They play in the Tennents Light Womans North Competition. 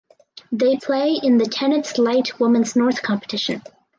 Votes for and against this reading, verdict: 2, 2, rejected